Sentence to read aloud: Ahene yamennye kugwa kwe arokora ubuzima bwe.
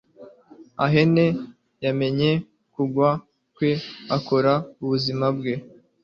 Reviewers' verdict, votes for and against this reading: rejected, 2, 3